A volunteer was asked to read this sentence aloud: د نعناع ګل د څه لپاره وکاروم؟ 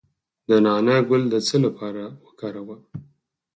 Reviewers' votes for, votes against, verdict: 2, 4, rejected